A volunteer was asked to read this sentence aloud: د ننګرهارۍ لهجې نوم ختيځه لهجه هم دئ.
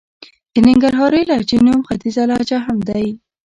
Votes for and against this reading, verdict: 1, 2, rejected